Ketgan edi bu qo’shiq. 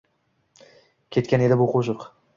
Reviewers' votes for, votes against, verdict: 2, 0, accepted